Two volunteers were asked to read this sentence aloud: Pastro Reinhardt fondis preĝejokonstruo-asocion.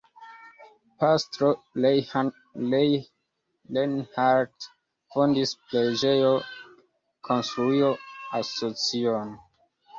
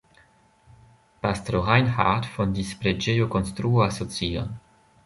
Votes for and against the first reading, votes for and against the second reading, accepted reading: 1, 2, 2, 1, second